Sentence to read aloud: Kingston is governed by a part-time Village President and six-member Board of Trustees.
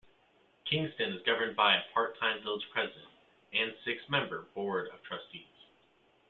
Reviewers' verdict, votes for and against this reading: accepted, 2, 0